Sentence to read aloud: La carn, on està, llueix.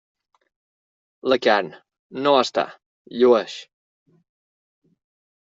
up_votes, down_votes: 0, 2